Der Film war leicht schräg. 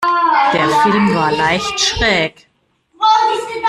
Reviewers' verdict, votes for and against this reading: rejected, 0, 2